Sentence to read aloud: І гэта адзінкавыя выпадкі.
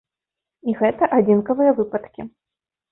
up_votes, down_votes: 2, 0